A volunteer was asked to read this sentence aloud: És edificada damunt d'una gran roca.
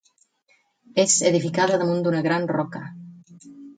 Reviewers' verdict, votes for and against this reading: accepted, 4, 0